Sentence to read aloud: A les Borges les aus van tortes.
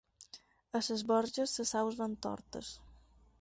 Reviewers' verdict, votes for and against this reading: rejected, 0, 4